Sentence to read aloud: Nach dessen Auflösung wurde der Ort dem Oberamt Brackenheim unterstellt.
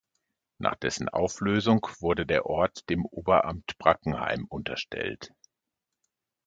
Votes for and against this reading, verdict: 2, 0, accepted